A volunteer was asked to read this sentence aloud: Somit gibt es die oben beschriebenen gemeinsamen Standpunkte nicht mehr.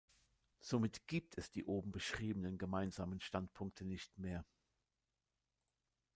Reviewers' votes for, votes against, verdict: 3, 0, accepted